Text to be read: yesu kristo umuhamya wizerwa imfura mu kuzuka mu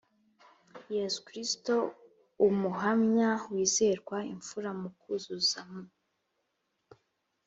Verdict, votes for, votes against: rejected, 2, 3